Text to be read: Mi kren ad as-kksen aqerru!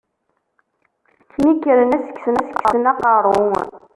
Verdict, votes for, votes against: rejected, 0, 2